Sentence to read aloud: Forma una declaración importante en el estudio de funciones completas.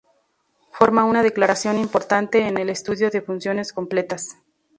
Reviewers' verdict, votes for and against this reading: accepted, 2, 0